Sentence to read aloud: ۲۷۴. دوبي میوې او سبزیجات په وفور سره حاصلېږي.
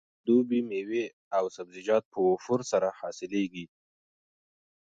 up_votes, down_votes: 0, 2